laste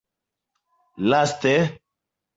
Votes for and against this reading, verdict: 2, 0, accepted